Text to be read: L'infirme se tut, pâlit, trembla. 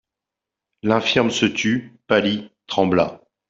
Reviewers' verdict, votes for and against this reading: accepted, 2, 0